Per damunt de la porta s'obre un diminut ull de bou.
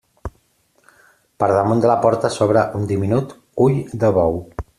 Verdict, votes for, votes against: accepted, 2, 0